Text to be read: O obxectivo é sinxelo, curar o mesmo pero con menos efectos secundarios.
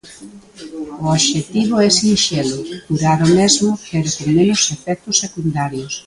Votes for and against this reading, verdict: 0, 2, rejected